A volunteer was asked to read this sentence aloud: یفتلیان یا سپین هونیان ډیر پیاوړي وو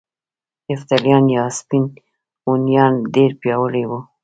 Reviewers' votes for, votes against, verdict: 2, 0, accepted